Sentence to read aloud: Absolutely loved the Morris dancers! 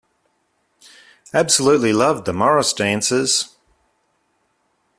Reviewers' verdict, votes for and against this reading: accepted, 2, 0